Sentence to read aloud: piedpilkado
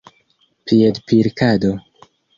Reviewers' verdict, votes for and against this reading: accepted, 2, 0